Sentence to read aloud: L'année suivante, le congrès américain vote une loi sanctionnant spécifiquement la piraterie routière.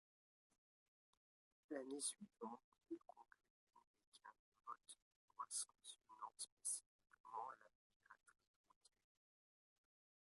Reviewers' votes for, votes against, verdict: 0, 2, rejected